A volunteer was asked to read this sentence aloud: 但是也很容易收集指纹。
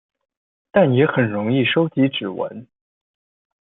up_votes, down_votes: 1, 2